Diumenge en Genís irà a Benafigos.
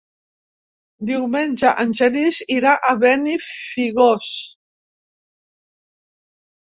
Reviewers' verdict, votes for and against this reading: rejected, 0, 2